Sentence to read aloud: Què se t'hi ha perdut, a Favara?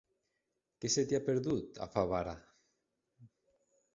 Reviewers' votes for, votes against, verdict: 0, 2, rejected